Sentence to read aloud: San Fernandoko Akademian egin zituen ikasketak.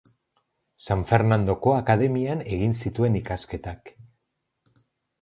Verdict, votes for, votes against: accepted, 6, 0